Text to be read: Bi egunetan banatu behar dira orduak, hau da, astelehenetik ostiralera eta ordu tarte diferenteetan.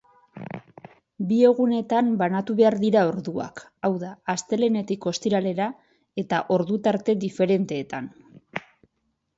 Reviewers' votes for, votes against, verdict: 2, 0, accepted